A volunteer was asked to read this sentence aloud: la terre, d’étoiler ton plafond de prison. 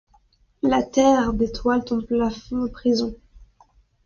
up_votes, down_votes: 0, 2